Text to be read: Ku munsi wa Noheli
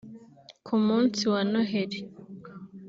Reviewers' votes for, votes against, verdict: 2, 0, accepted